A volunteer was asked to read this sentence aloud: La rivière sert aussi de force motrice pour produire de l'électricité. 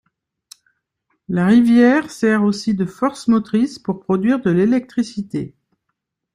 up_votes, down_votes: 2, 0